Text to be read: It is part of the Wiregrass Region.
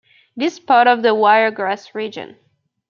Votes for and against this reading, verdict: 1, 2, rejected